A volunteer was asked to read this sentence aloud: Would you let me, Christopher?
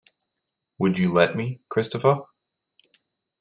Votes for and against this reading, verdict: 2, 0, accepted